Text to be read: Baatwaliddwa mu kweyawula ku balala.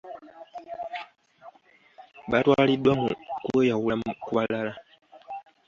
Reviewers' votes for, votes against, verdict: 2, 0, accepted